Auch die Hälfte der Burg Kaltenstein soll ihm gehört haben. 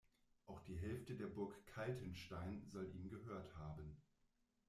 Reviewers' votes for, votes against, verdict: 1, 2, rejected